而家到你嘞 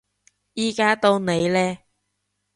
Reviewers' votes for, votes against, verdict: 0, 2, rejected